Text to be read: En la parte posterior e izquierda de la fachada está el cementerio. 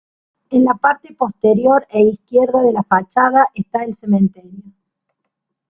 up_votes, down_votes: 2, 0